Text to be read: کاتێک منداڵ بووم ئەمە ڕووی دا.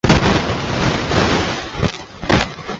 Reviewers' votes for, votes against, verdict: 0, 2, rejected